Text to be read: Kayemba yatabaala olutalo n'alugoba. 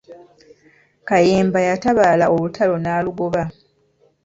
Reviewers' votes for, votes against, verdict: 2, 0, accepted